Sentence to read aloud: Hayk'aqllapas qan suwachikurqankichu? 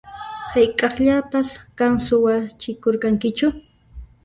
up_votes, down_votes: 2, 1